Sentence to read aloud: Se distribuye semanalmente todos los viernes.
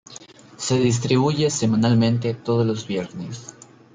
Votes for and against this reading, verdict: 2, 0, accepted